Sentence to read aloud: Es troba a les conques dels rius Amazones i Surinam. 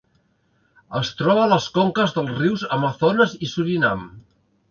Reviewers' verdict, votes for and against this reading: rejected, 1, 2